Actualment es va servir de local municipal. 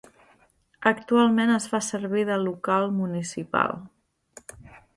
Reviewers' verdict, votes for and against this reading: rejected, 0, 2